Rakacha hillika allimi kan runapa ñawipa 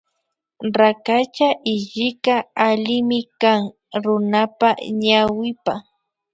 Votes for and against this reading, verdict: 2, 0, accepted